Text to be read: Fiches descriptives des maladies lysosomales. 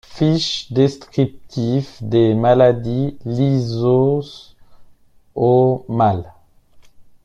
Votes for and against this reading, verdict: 1, 2, rejected